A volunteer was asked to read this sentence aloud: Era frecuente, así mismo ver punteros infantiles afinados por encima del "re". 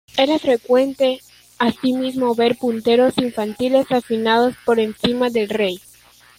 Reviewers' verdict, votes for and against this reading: rejected, 0, 2